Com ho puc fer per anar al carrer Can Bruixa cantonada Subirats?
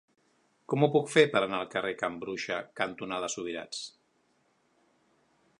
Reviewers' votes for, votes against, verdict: 3, 0, accepted